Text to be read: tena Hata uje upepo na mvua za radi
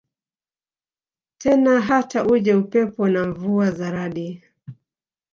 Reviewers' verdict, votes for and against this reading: accepted, 2, 1